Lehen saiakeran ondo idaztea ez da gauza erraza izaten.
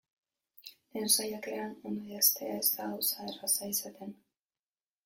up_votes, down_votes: 0, 2